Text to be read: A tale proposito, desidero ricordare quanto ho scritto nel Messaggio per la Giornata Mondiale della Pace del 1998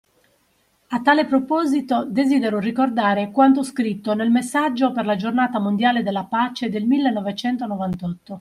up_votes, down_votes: 0, 2